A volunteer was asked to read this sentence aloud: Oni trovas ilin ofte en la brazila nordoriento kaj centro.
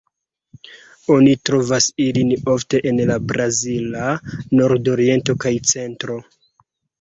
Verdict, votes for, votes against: accepted, 2, 1